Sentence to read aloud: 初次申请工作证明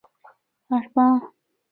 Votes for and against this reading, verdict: 0, 2, rejected